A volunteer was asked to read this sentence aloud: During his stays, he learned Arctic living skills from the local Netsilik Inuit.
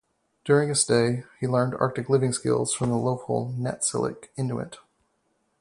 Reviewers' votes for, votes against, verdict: 2, 2, rejected